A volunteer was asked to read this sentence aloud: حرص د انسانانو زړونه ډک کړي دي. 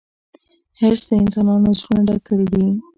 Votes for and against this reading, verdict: 2, 0, accepted